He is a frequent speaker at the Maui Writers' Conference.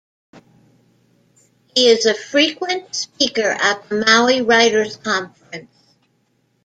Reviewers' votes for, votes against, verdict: 2, 0, accepted